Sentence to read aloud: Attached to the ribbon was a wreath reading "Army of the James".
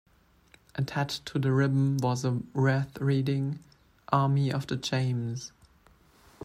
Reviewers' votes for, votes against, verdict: 1, 2, rejected